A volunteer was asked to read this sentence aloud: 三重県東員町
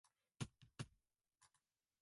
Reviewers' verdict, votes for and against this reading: rejected, 0, 2